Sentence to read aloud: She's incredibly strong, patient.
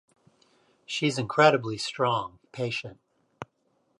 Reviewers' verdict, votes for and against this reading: accepted, 2, 0